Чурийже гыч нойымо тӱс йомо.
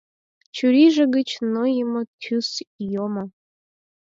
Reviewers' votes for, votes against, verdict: 4, 0, accepted